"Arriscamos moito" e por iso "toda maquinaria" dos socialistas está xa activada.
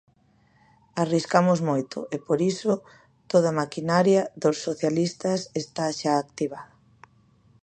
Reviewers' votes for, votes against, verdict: 1, 2, rejected